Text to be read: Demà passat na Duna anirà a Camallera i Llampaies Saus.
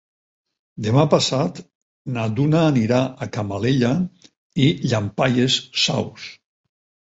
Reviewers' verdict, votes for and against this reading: rejected, 4, 6